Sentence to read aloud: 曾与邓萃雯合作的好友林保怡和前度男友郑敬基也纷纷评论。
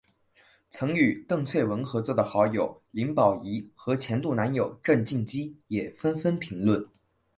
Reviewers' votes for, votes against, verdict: 2, 0, accepted